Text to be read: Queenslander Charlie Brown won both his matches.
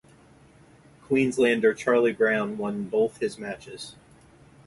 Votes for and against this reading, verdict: 2, 0, accepted